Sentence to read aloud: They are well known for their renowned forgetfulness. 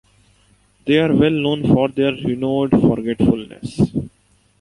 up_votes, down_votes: 0, 2